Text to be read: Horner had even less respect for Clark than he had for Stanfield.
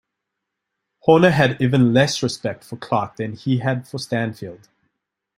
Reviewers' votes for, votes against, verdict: 2, 0, accepted